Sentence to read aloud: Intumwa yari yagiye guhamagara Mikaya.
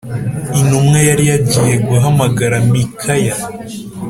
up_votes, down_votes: 2, 0